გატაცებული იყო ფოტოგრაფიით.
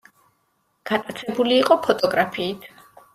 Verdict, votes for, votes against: accepted, 2, 0